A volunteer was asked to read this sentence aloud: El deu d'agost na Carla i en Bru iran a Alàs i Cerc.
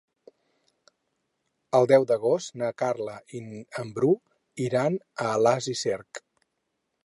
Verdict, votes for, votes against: rejected, 0, 4